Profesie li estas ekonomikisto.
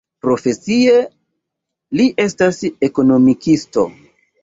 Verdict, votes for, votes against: rejected, 1, 2